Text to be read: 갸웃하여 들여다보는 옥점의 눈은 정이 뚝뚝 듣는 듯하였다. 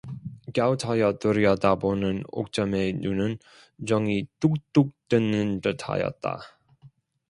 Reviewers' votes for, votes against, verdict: 1, 2, rejected